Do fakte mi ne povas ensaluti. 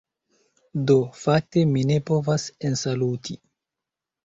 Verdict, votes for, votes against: accepted, 2, 0